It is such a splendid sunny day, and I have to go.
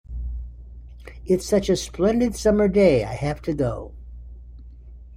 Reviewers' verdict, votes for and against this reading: rejected, 0, 2